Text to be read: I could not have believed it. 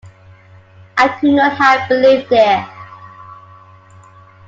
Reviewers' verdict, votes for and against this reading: accepted, 2, 0